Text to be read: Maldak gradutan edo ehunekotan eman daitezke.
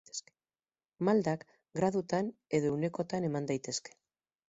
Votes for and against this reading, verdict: 4, 0, accepted